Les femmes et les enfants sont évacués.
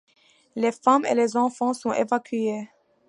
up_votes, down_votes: 2, 0